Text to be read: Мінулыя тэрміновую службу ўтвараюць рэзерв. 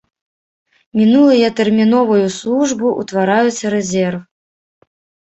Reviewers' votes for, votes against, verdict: 1, 2, rejected